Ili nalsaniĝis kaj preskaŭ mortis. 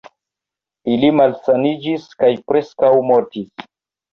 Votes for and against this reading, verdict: 0, 2, rejected